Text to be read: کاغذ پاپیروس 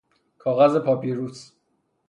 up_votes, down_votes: 0, 3